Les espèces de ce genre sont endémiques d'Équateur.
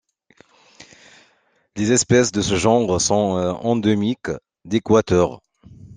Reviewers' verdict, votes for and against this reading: accepted, 2, 0